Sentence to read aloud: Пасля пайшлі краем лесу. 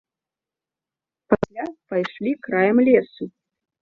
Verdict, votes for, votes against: rejected, 0, 2